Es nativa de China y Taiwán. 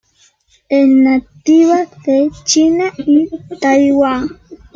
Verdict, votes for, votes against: rejected, 1, 2